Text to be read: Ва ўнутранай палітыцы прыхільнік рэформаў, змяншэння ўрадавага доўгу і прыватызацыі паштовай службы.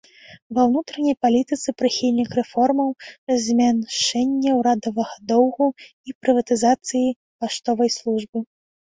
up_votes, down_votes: 0, 2